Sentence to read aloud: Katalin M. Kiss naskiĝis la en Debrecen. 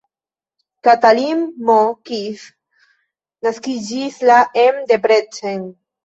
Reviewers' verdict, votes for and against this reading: accepted, 2, 1